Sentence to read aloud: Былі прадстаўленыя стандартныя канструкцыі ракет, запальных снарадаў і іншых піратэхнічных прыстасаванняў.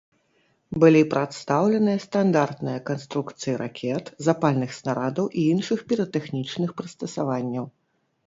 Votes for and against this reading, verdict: 2, 0, accepted